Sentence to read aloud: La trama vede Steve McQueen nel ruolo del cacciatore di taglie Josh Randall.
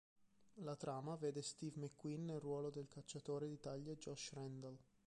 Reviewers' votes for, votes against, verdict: 0, 2, rejected